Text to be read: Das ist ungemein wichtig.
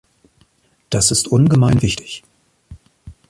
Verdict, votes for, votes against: accepted, 2, 0